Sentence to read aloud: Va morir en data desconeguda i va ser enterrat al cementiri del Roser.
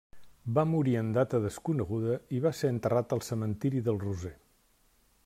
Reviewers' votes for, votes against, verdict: 3, 0, accepted